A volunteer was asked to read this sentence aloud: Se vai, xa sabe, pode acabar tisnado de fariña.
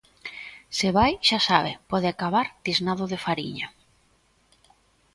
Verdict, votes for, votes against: accepted, 2, 0